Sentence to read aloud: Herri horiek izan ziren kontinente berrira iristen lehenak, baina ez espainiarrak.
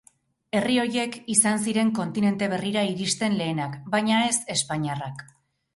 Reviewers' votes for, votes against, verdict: 2, 4, rejected